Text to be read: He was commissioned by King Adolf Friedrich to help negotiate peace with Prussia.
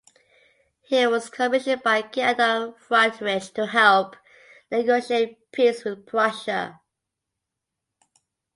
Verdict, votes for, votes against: rejected, 0, 2